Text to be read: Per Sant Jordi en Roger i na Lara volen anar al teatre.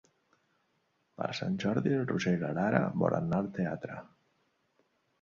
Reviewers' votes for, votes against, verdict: 3, 0, accepted